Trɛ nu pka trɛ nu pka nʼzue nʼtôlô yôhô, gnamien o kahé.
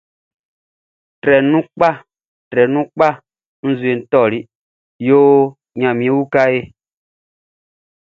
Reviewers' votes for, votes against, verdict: 2, 0, accepted